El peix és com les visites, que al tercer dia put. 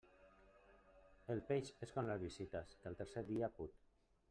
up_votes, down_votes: 0, 2